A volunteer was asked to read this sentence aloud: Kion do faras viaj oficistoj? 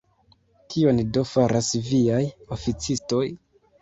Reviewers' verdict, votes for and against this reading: accepted, 2, 1